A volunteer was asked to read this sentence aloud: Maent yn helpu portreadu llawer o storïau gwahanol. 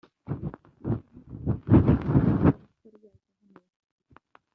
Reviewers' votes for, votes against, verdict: 0, 2, rejected